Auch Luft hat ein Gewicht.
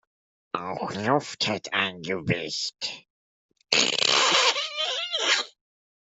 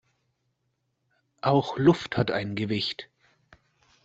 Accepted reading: second